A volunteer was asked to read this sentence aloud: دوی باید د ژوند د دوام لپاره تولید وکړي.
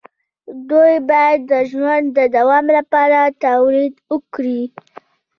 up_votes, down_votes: 2, 0